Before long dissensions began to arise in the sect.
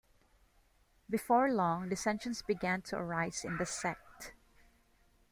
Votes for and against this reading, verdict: 2, 0, accepted